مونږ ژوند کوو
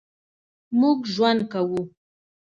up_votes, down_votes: 2, 0